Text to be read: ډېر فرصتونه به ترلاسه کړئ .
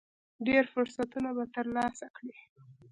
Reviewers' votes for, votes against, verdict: 2, 0, accepted